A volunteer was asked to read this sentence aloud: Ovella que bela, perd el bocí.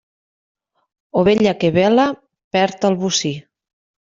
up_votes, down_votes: 2, 0